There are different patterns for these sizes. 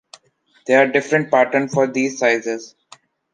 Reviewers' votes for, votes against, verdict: 2, 1, accepted